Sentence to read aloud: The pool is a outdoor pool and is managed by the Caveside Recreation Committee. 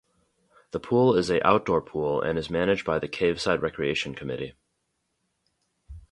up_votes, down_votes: 2, 0